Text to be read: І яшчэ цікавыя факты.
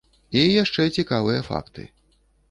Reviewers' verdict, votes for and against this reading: accepted, 2, 0